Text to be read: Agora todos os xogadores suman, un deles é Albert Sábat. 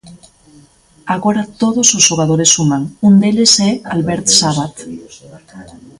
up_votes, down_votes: 2, 0